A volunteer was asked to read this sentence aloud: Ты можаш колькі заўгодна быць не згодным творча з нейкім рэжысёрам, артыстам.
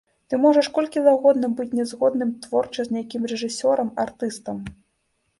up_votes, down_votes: 2, 0